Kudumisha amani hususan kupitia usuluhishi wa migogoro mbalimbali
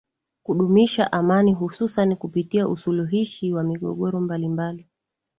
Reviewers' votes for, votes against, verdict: 17, 1, accepted